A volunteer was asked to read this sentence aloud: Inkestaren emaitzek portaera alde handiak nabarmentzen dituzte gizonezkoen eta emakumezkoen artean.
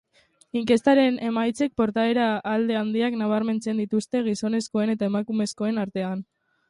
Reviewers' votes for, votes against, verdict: 2, 0, accepted